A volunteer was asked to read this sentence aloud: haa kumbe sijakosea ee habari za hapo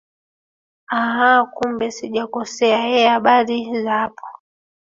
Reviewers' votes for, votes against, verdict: 2, 3, rejected